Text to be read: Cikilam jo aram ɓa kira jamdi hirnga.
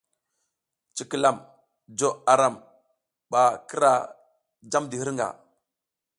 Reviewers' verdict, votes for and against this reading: accepted, 2, 0